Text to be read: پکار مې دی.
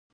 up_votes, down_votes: 0, 2